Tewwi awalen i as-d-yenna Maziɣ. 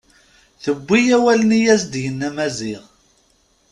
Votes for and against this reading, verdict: 2, 0, accepted